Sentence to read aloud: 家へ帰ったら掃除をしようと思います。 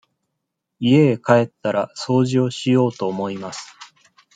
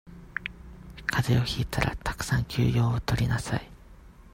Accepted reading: first